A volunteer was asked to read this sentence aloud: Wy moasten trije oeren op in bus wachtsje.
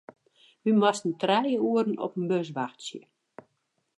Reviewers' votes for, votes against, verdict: 0, 2, rejected